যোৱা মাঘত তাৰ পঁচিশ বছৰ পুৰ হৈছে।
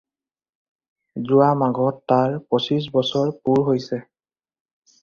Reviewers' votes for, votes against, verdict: 2, 0, accepted